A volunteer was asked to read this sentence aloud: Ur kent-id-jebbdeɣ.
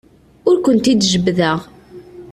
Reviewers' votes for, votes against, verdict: 2, 0, accepted